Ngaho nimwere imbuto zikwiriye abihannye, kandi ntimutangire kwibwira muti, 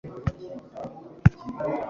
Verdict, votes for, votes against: rejected, 0, 2